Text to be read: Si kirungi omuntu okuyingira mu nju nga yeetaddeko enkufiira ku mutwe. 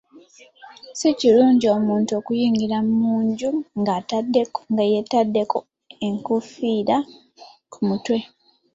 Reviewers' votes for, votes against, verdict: 2, 1, accepted